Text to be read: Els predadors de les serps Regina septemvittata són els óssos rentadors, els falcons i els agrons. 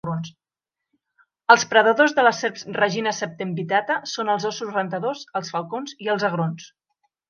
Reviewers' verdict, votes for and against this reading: rejected, 1, 2